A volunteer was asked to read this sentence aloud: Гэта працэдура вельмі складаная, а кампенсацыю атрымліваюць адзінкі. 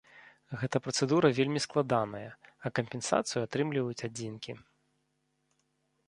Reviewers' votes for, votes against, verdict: 2, 0, accepted